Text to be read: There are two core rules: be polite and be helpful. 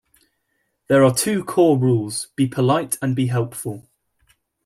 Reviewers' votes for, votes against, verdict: 0, 2, rejected